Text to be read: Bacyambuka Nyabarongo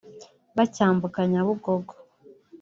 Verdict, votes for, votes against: rejected, 1, 2